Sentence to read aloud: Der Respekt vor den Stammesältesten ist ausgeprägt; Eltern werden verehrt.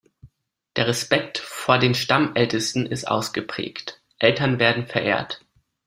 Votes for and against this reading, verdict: 1, 2, rejected